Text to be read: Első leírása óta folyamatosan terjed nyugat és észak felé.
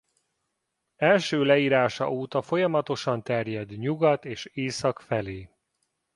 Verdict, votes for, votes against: accepted, 2, 0